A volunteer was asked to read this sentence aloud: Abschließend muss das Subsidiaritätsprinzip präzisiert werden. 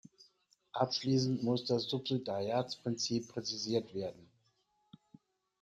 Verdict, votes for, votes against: rejected, 1, 2